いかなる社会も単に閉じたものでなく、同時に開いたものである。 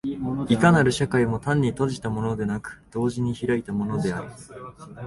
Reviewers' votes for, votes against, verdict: 2, 1, accepted